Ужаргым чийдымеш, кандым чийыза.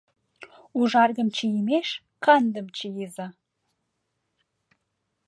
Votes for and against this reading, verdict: 0, 2, rejected